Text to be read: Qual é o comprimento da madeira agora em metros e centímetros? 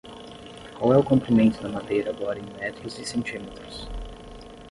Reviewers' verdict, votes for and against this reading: accepted, 10, 0